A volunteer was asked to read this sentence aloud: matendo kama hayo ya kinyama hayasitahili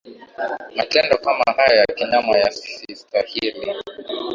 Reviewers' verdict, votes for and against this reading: rejected, 1, 2